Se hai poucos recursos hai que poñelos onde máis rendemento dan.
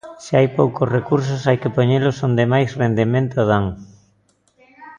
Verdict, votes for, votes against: rejected, 1, 2